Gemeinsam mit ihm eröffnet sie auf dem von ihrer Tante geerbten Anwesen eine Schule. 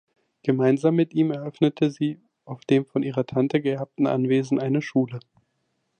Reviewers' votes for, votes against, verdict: 0, 2, rejected